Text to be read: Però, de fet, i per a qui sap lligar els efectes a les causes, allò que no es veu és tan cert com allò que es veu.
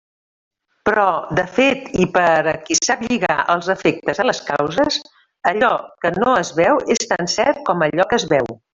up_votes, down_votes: 0, 2